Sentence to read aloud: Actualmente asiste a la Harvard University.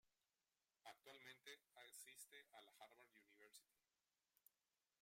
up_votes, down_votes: 0, 2